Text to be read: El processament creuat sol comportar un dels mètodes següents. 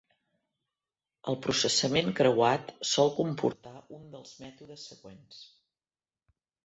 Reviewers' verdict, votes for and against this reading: rejected, 0, 2